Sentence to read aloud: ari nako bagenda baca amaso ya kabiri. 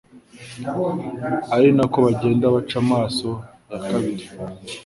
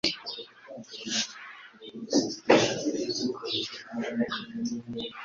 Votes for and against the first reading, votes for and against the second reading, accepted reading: 2, 0, 1, 2, first